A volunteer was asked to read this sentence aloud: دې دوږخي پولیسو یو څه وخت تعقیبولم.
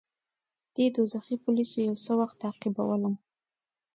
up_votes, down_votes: 2, 0